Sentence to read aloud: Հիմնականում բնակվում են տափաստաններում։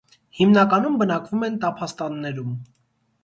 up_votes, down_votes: 2, 0